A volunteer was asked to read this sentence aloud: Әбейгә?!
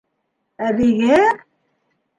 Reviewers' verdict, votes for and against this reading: accepted, 2, 0